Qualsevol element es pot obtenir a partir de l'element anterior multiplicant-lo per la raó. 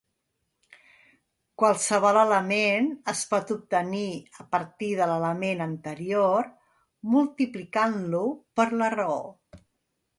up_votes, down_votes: 3, 0